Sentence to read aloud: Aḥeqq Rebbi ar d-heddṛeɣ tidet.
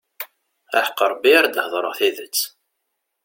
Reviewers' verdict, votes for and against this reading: accepted, 2, 0